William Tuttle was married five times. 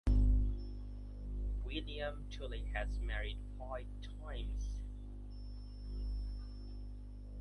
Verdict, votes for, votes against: rejected, 0, 2